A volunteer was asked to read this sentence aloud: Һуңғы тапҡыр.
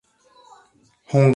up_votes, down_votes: 0, 2